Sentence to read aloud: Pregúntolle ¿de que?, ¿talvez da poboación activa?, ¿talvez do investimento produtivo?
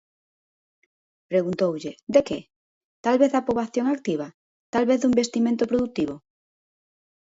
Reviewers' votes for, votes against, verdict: 1, 2, rejected